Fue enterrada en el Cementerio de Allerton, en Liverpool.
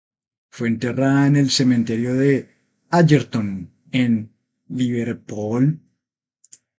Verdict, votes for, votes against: accepted, 2, 0